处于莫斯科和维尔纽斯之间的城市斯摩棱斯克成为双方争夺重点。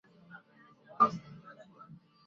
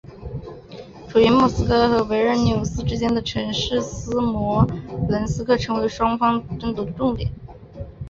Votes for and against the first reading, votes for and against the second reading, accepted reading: 0, 3, 3, 1, second